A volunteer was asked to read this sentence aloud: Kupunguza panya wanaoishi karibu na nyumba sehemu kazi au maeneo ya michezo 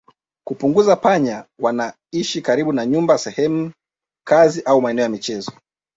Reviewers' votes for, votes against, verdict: 3, 1, accepted